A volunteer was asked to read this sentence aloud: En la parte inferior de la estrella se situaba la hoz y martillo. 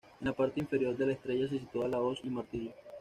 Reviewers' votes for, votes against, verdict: 1, 2, rejected